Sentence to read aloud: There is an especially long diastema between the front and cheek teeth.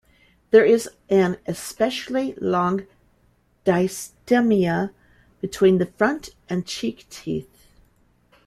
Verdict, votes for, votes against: rejected, 0, 2